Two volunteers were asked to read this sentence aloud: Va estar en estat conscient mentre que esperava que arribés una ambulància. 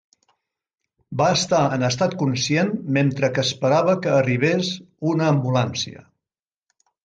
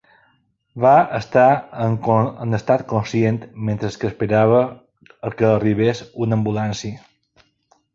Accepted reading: first